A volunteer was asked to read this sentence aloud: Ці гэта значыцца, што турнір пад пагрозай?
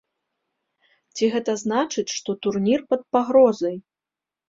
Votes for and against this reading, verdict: 0, 2, rejected